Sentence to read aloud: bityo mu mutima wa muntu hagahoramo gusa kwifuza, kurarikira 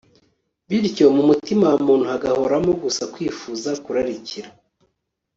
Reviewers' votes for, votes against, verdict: 1, 2, rejected